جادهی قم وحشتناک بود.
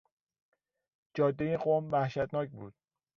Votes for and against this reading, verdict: 2, 0, accepted